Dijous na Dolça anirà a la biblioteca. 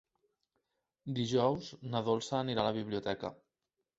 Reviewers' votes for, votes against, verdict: 3, 0, accepted